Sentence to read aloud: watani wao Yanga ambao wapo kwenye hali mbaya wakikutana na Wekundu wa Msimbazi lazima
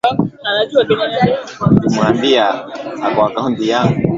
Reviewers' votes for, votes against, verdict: 0, 2, rejected